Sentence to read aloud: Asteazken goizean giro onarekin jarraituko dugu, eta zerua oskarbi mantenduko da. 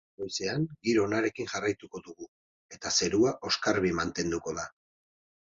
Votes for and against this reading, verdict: 2, 4, rejected